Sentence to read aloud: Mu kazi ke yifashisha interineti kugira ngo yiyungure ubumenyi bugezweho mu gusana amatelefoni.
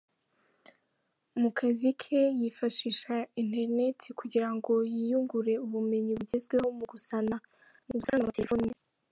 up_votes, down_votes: 0, 2